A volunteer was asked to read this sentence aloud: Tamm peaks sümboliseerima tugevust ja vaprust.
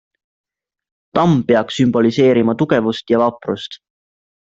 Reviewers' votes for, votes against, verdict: 2, 0, accepted